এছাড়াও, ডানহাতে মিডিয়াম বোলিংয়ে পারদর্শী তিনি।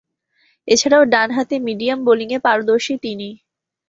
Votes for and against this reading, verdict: 5, 0, accepted